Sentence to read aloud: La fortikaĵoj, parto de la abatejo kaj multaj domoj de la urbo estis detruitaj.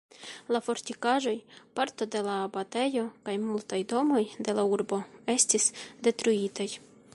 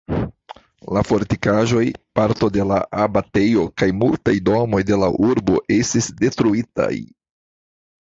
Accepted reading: first